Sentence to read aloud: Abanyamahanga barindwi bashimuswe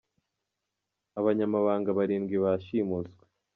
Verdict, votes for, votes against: rejected, 1, 2